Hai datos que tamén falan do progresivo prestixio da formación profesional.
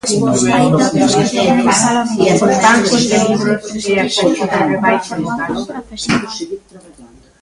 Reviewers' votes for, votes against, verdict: 0, 2, rejected